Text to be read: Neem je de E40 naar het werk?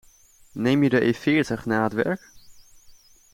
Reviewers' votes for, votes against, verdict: 0, 2, rejected